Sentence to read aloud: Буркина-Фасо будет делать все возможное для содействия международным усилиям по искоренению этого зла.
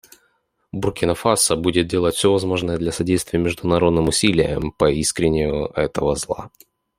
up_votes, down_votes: 0, 2